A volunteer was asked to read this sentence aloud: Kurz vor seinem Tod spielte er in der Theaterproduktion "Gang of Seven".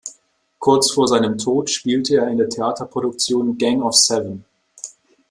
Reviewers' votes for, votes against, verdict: 2, 0, accepted